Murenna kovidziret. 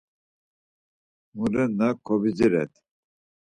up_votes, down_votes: 4, 0